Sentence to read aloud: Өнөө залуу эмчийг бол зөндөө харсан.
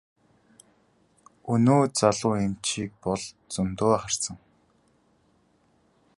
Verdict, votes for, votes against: accepted, 3, 1